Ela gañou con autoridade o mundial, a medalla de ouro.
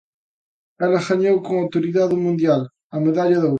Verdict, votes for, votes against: accepted, 2, 1